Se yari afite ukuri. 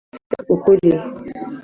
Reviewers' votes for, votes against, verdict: 0, 2, rejected